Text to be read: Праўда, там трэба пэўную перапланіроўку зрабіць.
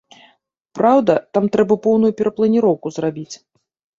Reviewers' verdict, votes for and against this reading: rejected, 1, 2